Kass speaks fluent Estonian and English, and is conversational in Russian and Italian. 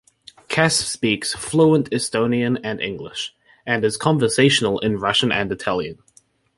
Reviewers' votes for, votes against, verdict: 2, 0, accepted